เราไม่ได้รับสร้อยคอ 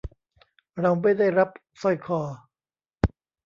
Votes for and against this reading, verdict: 1, 2, rejected